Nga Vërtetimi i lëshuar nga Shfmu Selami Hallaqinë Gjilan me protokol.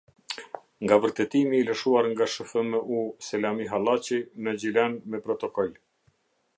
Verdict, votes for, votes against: rejected, 0, 2